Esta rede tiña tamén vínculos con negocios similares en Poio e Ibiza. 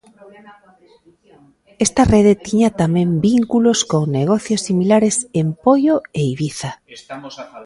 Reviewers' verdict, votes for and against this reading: rejected, 0, 2